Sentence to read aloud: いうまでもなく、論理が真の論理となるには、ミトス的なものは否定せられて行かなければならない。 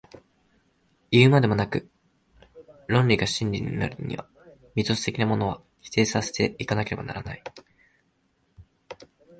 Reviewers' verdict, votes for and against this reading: rejected, 9, 18